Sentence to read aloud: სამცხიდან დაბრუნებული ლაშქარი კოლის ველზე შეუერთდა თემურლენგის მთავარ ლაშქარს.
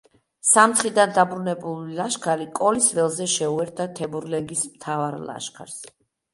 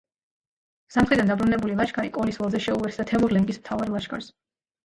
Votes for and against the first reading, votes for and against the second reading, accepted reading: 2, 0, 1, 2, first